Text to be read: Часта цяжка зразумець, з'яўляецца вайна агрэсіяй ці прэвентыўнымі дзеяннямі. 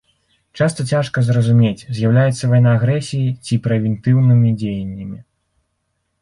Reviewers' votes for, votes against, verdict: 1, 2, rejected